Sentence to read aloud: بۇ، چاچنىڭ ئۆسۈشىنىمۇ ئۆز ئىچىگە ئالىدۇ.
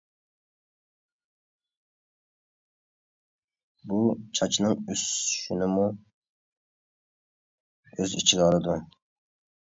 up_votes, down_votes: 0, 2